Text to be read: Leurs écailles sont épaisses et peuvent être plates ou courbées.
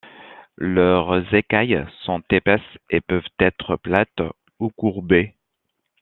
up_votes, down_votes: 2, 0